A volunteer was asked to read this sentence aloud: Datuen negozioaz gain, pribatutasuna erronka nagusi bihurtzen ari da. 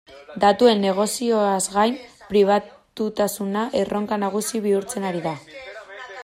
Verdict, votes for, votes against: rejected, 0, 2